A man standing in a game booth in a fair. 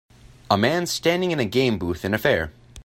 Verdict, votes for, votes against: accepted, 2, 0